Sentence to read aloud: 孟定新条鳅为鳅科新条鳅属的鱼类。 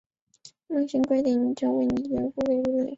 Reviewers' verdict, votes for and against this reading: rejected, 1, 3